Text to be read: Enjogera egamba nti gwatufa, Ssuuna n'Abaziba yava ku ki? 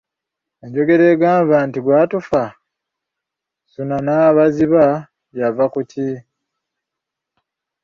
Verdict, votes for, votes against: accepted, 2, 1